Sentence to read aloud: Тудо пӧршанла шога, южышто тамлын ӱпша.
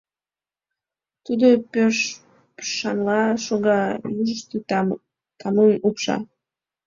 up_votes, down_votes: 0, 2